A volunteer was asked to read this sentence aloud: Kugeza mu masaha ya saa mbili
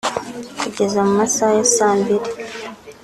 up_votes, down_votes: 2, 0